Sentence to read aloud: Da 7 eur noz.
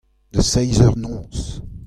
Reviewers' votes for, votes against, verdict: 0, 2, rejected